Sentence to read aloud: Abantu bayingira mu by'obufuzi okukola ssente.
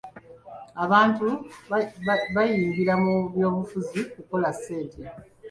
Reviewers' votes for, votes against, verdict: 2, 3, rejected